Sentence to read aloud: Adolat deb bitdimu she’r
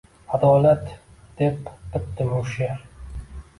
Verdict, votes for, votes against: accepted, 2, 0